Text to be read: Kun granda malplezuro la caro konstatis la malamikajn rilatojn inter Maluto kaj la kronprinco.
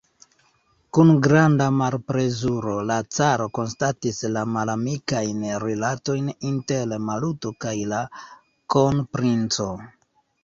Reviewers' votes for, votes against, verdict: 0, 2, rejected